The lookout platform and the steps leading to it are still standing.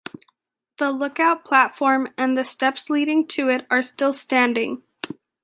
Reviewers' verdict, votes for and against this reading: accepted, 2, 1